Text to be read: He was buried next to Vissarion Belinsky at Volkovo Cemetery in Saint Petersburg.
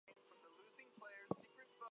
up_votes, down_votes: 0, 2